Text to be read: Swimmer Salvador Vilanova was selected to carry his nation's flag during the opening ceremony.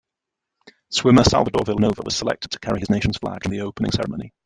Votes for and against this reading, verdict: 0, 2, rejected